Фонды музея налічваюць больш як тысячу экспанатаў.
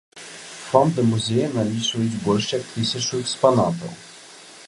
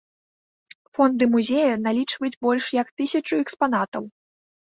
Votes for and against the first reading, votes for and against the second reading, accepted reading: 1, 3, 3, 0, second